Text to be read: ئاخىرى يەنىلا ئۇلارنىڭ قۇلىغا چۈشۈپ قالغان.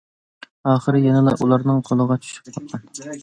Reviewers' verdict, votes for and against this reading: rejected, 0, 2